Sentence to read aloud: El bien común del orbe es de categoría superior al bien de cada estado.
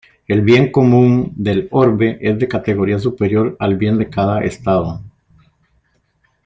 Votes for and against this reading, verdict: 2, 0, accepted